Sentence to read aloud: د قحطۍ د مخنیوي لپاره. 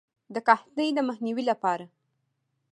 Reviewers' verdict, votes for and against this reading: accepted, 2, 0